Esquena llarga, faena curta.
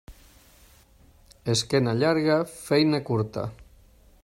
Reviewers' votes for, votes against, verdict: 0, 2, rejected